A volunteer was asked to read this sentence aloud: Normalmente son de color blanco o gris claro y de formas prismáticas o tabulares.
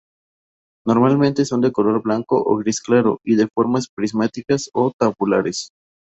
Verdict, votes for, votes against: accepted, 2, 0